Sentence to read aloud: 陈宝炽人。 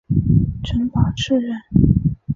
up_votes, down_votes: 2, 1